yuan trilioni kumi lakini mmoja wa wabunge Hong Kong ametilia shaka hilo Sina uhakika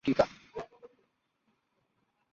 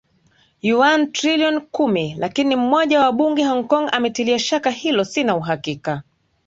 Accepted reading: second